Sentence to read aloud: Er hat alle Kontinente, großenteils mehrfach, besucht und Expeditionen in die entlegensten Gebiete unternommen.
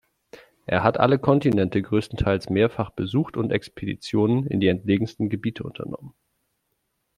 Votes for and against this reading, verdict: 2, 0, accepted